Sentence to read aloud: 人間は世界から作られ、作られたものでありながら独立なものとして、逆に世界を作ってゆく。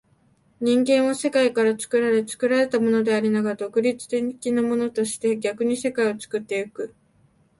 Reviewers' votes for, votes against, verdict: 1, 2, rejected